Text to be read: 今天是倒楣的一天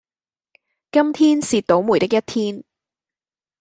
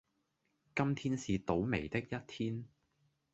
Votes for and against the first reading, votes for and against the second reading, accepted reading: 2, 0, 1, 2, first